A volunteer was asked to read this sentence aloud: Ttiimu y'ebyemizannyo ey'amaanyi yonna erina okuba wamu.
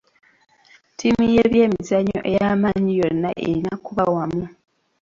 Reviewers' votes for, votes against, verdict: 0, 2, rejected